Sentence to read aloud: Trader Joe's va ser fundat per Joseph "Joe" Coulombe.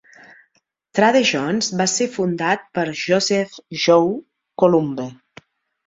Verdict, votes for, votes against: rejected, 0, 2